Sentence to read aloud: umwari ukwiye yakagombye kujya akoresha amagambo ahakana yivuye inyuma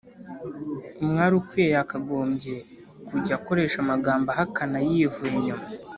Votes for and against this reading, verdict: 2, 0, accepted